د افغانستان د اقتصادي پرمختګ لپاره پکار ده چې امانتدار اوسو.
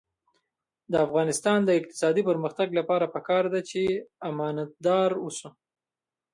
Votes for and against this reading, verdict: 2, 1, accepted